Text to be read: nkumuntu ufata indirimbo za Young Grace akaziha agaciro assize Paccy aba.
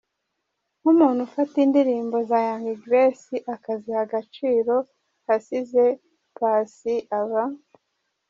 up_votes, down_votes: 2, 0